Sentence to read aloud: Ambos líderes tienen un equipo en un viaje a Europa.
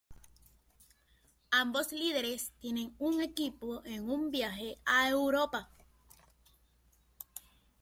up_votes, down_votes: 2, 1